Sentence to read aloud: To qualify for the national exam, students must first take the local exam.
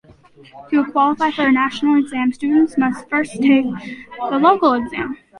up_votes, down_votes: 2, 1